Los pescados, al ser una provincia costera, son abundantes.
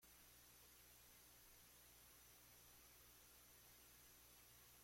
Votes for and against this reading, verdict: 0, 2, rejected